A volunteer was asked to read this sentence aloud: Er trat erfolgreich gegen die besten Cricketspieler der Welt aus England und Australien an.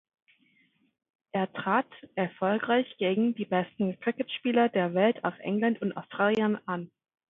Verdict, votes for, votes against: accepted, 2, 0